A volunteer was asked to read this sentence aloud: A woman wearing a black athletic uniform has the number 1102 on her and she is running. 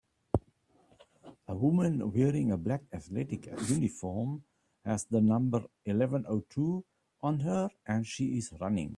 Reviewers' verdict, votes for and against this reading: rejected, 0, 2